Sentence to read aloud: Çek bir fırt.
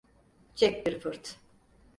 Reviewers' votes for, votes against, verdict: 4, 0, accepted